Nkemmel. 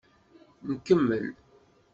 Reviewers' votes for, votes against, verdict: 2, 0, accepted